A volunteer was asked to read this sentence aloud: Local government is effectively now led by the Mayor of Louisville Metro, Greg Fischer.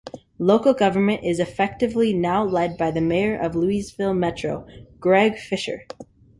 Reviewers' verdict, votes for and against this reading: accepted, 2, 0